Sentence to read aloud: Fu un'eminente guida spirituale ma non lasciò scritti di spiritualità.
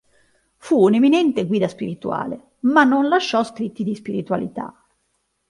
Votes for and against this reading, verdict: 2, 1, accepted